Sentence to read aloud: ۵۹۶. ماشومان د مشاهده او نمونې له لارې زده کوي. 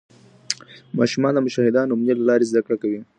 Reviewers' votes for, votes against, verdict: 0, 2, rejected